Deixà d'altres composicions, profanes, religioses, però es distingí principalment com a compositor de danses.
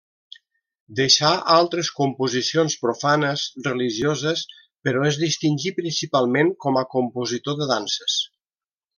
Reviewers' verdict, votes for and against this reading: rejected, 1, 2